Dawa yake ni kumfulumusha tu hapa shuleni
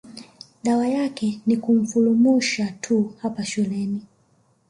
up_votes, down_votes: 2, 0